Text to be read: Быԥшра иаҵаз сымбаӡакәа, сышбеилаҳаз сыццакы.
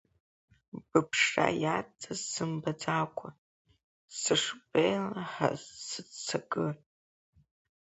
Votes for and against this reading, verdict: 1, 4, rejected